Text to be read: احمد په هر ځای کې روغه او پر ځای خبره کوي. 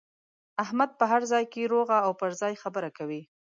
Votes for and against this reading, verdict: 2, 0, accepted